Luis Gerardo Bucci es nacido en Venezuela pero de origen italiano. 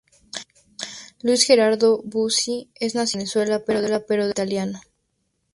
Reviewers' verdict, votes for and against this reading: rejected, 0, 4